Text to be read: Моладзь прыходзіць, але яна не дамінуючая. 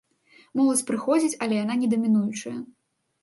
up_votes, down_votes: 2, 0